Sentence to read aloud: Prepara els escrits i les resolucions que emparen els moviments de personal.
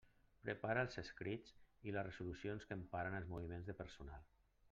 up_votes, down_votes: 0, 2